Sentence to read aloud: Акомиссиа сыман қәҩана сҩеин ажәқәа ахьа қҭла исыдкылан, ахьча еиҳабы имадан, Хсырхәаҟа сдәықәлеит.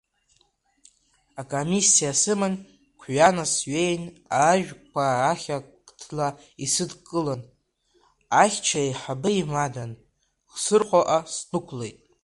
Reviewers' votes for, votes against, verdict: 1, 2, rejected